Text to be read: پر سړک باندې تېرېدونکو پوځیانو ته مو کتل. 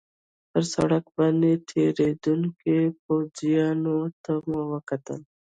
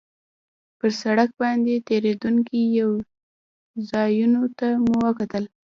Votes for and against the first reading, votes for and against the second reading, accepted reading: 1, 2, 2, 1, second